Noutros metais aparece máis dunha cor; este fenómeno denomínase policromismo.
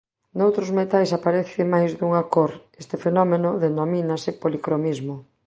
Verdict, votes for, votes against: accepted, 2, 0